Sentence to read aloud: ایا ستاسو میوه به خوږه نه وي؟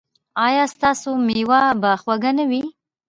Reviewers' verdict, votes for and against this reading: rejected, 1, 2